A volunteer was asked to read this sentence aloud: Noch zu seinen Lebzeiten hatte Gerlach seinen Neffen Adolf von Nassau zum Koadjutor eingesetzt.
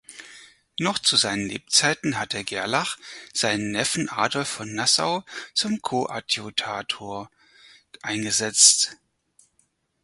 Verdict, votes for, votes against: rejected, 0, 4